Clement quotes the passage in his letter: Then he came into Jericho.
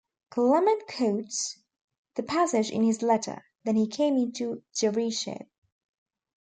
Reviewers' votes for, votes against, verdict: 2, 1, accepted